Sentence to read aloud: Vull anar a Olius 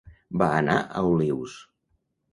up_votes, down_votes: 0, 2